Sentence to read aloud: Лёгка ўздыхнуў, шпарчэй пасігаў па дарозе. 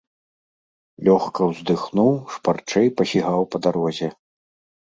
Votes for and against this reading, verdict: 2, 0, accepted